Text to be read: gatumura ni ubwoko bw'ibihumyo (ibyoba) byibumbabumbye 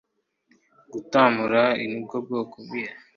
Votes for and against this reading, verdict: 0, 2, rejected